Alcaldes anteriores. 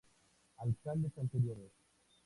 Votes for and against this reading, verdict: 2, 0, accepted